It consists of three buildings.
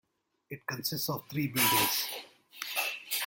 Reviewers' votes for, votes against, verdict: 0, 2, rejected